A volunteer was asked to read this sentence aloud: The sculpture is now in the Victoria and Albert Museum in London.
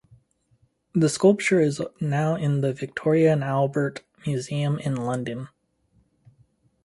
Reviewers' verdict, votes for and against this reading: accepted, 4, 0